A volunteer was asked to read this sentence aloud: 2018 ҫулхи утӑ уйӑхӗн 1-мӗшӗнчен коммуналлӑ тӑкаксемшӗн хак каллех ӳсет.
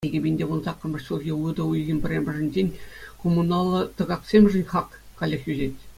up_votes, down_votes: 0, 2